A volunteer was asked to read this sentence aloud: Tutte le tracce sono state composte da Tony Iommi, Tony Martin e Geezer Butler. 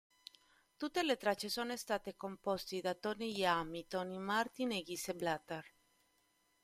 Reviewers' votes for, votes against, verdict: 1, 2, rejected